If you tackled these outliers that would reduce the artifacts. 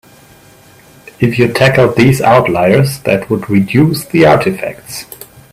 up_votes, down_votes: 2, 0